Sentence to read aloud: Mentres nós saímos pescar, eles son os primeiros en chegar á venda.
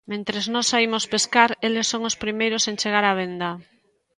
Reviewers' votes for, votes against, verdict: 2, 0, accepted